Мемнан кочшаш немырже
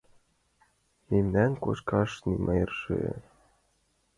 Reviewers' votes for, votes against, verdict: 0, 2, rejected